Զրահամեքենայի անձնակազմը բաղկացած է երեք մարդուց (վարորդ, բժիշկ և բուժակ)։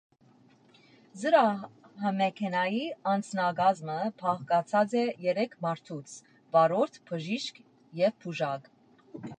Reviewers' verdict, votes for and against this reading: rejected, 1, 2